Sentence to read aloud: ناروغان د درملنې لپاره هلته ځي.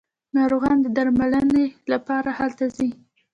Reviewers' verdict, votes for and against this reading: rejected, 1, 2